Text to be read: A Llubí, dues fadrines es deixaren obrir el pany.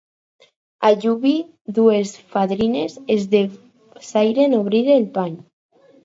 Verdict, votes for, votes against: rejected, 0, 4